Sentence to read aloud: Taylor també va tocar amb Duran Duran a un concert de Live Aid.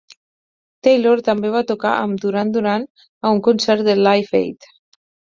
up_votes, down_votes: 4, 0